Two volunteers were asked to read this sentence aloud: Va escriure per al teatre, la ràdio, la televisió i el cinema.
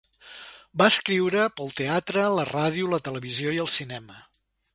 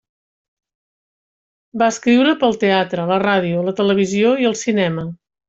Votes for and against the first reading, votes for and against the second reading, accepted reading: 1, 2, 2, 1, second